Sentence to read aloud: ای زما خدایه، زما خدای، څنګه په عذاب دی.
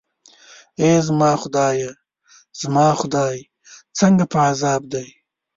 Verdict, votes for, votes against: rejected, 0, 2